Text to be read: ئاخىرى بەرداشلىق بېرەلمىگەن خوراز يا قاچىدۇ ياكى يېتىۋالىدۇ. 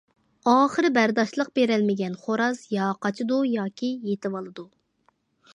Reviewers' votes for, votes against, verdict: 2, 0, accepted